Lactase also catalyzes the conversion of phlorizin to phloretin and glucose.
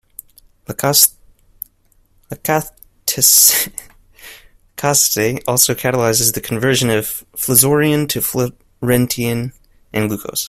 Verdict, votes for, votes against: rejected, 0, 2